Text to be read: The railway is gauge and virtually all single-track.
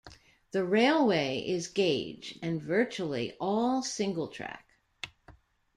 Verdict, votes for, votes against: rejected, 0, 2